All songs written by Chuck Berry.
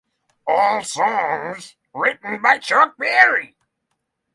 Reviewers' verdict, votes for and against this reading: accepted, 3, 0